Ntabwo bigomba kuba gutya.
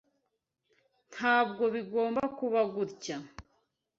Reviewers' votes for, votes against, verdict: 2, 0, accepted